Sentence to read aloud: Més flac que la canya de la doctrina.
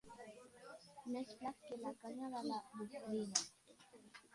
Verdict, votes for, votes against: rejected, 1, 2